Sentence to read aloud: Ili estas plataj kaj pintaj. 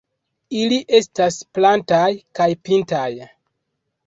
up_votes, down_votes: 0, 2